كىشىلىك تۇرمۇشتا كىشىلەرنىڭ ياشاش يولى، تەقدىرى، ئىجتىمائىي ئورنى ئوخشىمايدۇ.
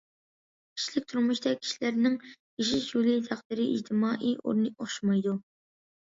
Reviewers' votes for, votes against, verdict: 2, 0, accepted